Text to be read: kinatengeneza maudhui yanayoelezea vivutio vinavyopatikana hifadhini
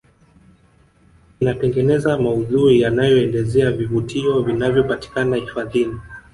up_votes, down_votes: 0, 2